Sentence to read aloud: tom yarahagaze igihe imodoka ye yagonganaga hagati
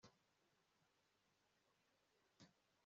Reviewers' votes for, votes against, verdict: 0, 2, rejected